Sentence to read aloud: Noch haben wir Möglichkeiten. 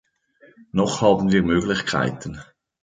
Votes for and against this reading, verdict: 2, 0, accepted